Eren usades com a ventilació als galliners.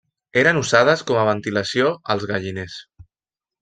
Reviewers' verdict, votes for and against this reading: rejected, 1, 2